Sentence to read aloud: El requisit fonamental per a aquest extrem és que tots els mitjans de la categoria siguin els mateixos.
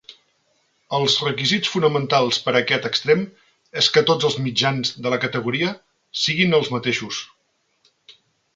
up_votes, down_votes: 1, 3